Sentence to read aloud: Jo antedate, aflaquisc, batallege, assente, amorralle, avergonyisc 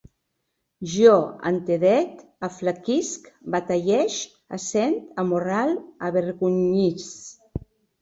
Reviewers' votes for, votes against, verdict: 0, 2, rejected